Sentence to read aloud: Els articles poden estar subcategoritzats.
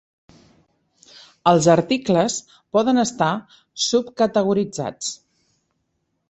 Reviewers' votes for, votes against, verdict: 3, 0, accepted